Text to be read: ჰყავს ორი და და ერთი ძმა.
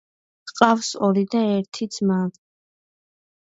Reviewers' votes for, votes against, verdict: 0, 2, rejected